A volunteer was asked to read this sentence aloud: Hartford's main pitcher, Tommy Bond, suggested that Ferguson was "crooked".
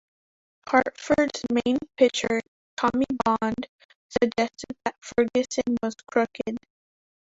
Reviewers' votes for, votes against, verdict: 0, 2, rejected